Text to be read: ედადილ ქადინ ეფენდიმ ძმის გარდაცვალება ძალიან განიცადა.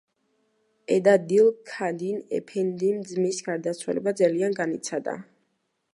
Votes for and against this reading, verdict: 0, 2, rejected